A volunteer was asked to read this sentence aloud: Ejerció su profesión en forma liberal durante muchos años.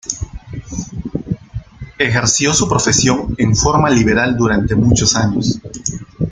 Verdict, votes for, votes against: rejected, 1, 2